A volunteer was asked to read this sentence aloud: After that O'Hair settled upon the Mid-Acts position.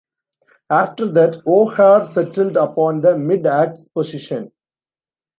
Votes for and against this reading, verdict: 0, 2, rejected